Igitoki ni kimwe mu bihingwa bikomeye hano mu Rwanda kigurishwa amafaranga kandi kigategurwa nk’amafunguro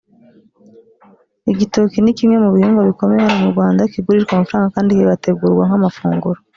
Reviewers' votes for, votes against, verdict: 1, 2, rejected